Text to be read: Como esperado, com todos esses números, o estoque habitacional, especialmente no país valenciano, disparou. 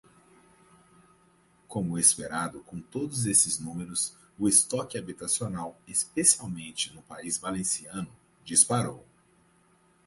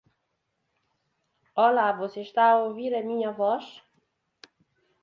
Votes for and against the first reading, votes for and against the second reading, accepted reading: 6, 0, 0, 2, first